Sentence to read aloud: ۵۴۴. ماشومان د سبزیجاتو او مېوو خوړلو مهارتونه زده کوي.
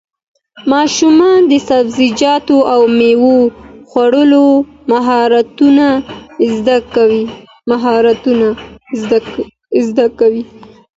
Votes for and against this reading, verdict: 0, 2, rejected